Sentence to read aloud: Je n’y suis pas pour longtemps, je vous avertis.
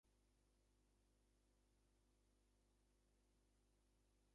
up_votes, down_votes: 0, 2